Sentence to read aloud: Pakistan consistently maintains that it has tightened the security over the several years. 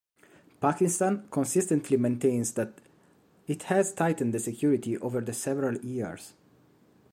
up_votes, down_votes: 2, 0